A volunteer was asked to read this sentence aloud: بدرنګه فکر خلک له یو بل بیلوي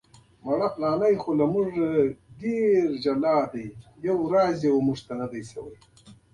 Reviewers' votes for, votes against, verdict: 0, 3, rejected